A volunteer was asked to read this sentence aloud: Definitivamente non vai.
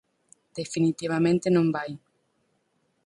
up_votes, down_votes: 4, 0